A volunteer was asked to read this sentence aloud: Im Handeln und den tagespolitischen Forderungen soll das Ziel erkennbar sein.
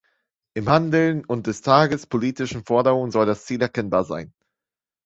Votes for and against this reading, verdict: 0, 2, rejected